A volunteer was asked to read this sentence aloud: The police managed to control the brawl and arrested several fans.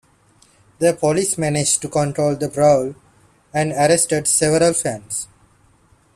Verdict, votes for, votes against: accepted, 2, 0